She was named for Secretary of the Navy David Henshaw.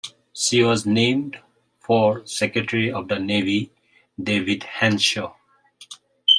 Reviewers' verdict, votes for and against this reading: accepted, 2, 0